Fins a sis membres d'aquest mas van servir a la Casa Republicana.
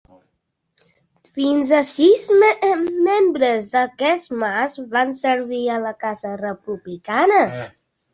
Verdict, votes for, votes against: rejected, 1, 2